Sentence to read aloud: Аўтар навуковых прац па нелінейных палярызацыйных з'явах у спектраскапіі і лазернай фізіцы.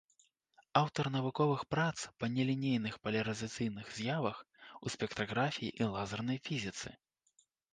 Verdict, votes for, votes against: rejected, 0, 2